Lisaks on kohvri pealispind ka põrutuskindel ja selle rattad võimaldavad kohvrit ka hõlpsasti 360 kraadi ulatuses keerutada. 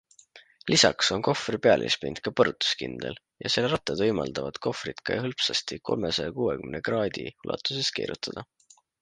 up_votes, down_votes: 0, 2